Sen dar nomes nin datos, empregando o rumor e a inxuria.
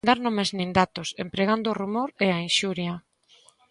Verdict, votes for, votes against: rejected, 1, 2